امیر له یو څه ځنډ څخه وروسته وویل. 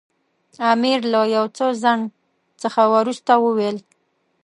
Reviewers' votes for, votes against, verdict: 2, 0, accepted